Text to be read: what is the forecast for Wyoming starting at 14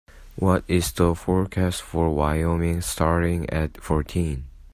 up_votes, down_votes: 0, 2